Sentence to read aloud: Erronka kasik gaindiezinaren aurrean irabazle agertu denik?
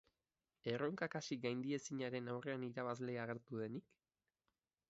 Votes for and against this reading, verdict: 2, 0, accepted